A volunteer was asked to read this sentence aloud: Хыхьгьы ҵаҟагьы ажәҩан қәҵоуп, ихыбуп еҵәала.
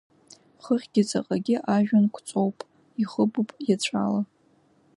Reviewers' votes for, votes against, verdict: 2, 0, accepted